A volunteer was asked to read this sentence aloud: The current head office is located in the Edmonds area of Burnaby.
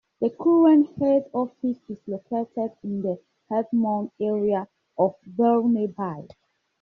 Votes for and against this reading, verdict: 0, 2, rejected